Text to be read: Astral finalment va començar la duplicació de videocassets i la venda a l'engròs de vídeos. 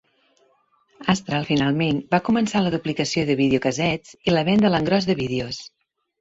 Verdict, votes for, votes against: accepted, 3, 1